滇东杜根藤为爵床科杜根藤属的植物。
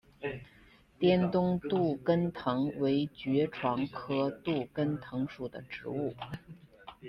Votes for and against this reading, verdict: 2, 0, accepted